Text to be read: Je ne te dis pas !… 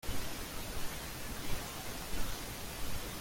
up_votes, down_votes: 0, 2